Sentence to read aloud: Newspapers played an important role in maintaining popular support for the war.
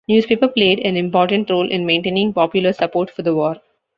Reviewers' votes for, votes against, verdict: 1, 2, rejected